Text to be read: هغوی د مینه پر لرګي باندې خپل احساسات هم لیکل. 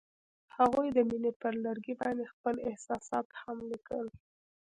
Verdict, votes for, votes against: rejected, 0, 2